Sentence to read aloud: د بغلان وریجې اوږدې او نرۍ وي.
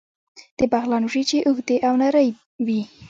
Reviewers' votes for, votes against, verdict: 1, 2, rejected